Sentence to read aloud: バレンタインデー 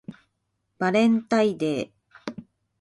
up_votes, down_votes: 1, 2